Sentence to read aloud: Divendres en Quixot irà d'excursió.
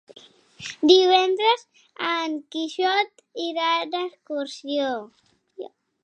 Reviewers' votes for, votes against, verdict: 3, 0, accepted